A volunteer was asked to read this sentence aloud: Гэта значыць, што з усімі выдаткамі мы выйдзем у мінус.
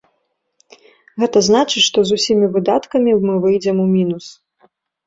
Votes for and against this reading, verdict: 2, 0, accepted